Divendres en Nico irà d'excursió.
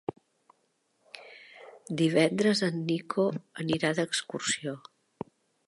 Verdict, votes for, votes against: rejected, 1, 2